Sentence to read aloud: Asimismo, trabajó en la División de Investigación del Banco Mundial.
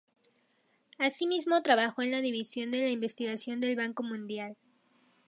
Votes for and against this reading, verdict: 2, 0, accepted